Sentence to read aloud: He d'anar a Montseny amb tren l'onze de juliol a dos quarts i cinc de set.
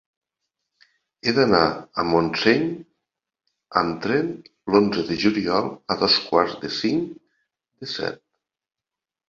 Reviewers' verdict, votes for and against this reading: rejected, 1, 2